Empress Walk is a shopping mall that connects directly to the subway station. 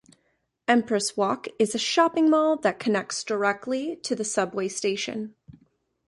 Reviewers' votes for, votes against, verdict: 2, 0, accepted